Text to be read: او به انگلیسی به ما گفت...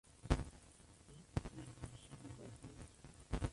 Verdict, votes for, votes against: rejected, 0, 2